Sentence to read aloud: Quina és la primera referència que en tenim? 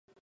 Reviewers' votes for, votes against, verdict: 0, 2, rejected